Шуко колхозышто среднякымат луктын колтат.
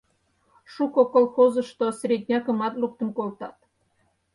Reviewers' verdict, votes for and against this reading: accepted, 4, 0